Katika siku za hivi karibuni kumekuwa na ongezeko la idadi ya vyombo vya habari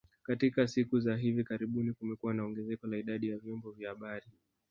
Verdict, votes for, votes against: accepted, 2, 0